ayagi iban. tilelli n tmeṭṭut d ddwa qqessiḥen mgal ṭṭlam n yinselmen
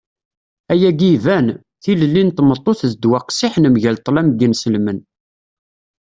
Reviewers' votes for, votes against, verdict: 3, 0, accepted